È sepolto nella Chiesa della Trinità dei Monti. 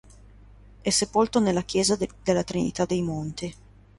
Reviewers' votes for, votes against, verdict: 2, 1, accepted